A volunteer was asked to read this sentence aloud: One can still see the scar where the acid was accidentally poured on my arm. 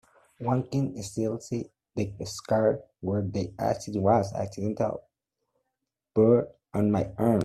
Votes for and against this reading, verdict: 0, 2, rejected